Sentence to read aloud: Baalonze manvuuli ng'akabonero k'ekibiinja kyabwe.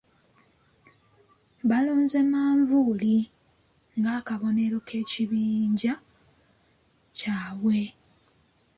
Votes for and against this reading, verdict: 1, 2, rejected